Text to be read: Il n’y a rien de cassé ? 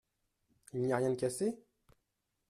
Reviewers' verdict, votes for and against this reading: accepted, 2, 0